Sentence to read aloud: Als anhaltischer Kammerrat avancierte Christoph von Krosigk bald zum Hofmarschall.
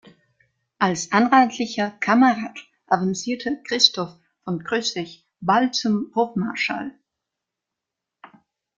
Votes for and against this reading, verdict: 0, 2, rejected